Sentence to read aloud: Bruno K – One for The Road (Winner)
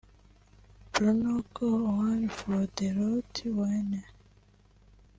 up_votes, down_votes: 1, 2